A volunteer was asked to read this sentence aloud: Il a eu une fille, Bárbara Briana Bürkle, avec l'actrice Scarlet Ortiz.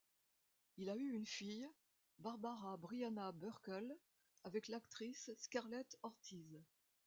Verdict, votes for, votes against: accepted, 2, 0